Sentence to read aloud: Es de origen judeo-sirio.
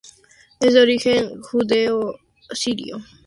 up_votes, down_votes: 2, 0